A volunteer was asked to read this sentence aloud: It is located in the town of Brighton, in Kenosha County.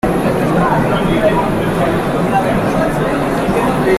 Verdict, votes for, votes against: rejected, 0, 2